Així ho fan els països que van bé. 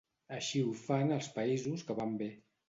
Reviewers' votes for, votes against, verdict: 2, 0, accepted